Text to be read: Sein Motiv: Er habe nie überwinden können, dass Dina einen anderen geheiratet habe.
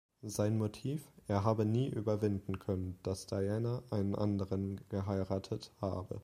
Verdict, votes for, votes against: rejected, 0, 2